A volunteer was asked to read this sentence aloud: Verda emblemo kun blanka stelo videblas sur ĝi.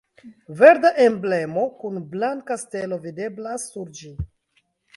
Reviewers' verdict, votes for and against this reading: accepted, 2, 1